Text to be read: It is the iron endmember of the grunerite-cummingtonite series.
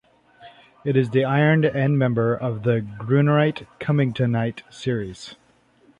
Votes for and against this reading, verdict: 2, 0, accepted